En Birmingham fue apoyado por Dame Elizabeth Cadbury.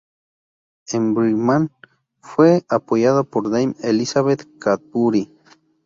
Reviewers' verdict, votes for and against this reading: rejected, 0, 2